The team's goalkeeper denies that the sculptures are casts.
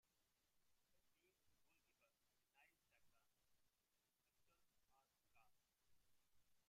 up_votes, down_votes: 0, 2